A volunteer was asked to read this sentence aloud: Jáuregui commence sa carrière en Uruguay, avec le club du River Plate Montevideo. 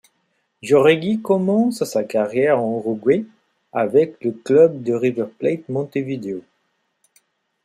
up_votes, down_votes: 2, 0